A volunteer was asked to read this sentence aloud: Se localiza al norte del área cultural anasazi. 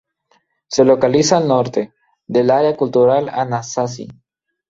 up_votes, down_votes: 0, 2